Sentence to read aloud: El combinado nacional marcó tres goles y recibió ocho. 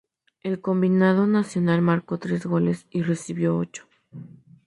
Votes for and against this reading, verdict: 2, 0, accepted